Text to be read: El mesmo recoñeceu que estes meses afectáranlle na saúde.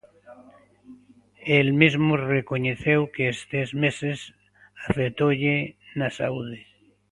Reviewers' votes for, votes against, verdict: 1, 2, rejected